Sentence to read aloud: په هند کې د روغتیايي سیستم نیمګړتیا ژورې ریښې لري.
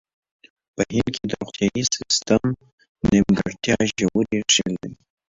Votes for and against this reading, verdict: 2, 1, accepted